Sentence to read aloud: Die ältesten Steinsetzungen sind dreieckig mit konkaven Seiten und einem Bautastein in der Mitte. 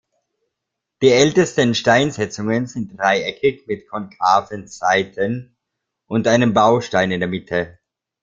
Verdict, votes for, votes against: accepted, 2, 1